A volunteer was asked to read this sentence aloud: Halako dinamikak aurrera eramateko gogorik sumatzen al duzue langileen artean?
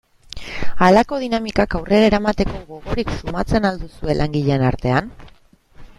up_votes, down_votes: 2, 0